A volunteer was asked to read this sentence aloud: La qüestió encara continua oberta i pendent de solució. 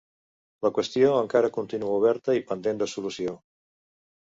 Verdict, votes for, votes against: accepted, 2, 0